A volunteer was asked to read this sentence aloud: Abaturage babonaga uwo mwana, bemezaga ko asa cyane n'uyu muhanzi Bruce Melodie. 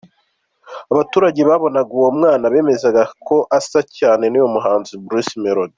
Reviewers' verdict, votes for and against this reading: accepted, 2, 0